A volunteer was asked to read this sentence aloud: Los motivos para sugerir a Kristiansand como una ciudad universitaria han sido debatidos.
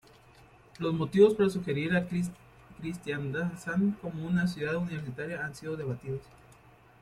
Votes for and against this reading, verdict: 0, 2, rejected